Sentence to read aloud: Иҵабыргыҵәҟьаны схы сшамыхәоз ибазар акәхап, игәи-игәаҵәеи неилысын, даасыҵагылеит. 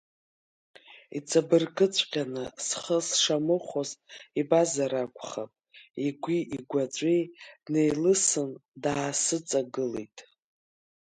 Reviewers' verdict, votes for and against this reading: accepted, 2, 0